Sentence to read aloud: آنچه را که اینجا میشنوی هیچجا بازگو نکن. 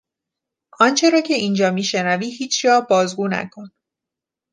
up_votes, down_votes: 2, 0